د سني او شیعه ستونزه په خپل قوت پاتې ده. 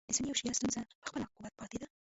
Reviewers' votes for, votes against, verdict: 1, 2, rejected